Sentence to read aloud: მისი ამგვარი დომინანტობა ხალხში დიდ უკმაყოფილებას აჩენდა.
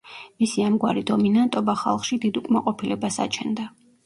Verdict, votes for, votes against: rejected, 0, 2